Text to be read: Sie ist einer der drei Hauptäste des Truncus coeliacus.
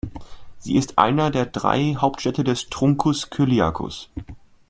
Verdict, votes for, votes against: rejected, 1, 2